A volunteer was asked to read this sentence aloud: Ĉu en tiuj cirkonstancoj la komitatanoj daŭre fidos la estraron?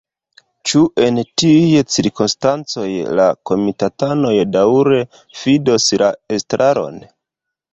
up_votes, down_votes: 2, 0